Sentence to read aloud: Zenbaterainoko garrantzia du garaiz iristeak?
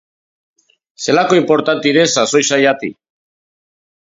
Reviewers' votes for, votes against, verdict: 0, 2, rejected